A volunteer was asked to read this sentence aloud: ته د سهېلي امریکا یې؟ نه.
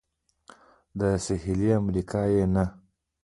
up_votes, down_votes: 0, 2